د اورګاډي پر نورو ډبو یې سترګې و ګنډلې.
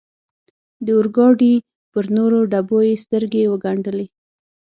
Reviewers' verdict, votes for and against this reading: accepted, 6, 0